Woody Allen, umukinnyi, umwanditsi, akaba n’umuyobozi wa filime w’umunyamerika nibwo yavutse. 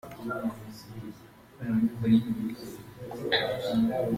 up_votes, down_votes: 0, 2